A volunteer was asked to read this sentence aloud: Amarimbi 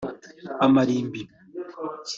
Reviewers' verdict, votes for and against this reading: accepted, 2, 0